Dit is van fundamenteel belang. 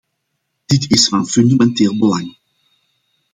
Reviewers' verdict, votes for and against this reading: accepted, 2, 0